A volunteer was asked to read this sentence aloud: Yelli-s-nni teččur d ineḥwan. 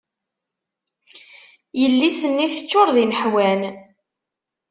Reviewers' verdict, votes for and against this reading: accepted, 2, 0